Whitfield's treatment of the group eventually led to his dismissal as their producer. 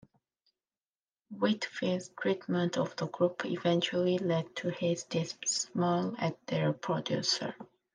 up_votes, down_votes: 0, 3